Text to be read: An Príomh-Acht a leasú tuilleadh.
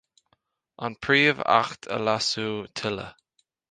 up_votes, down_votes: 2, 0